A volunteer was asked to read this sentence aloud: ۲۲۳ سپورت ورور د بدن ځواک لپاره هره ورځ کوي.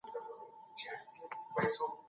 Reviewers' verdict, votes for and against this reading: rejected, 0, 2